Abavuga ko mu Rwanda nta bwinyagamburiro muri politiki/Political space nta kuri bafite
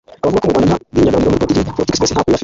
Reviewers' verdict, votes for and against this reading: rejected, 1, 2